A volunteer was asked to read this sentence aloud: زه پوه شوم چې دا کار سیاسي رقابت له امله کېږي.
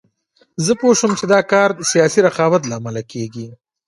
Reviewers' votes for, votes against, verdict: 1, 2, rejected